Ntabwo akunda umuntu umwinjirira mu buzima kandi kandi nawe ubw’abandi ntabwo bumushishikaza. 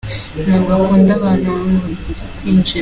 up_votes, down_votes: 0, 2